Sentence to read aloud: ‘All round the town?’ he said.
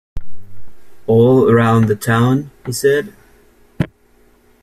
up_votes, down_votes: 2, 1